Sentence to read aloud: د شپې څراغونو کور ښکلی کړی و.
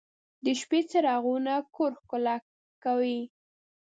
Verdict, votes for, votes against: rejected, 2, 3